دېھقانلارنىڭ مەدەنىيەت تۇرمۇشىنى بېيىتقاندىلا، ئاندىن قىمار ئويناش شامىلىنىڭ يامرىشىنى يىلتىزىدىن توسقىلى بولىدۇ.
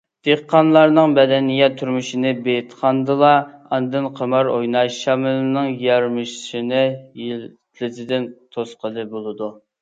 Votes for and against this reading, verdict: 0, 2, rejected